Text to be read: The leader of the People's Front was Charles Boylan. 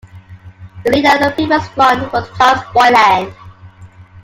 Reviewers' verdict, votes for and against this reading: rejected, 1, 2